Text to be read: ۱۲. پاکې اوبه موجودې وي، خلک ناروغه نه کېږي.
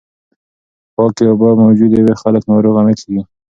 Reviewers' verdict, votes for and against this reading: rejected, 0, 2